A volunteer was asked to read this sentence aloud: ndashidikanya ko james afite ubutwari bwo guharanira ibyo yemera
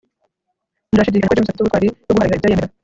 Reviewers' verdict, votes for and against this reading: rejected, 0, 2